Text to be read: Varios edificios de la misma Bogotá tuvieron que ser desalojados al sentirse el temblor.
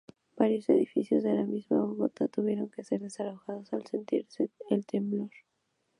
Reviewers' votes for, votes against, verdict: 2, 0, accepted